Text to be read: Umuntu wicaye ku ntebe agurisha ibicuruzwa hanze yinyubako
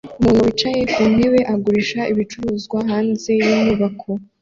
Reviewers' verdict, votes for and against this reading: accepted, 2, 1